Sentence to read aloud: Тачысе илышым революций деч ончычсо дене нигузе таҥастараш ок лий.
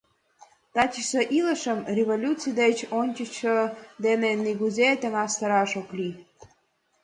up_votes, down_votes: 2, 0